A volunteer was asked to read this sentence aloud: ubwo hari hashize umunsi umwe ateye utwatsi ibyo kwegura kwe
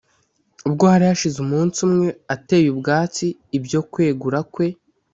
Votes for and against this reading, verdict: 2, 0, accepted